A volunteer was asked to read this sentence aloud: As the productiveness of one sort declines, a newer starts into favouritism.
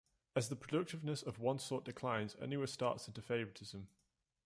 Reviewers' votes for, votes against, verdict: 0, 2, rejected